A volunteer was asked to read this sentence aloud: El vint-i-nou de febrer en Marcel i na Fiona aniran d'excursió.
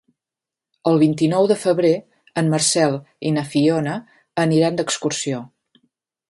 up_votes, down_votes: 3, 0